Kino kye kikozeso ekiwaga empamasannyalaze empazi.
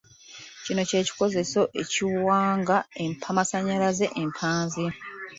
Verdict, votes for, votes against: rejected, 0, 2